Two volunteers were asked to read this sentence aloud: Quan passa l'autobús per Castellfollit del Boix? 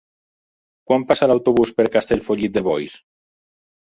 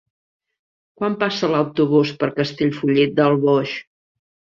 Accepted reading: second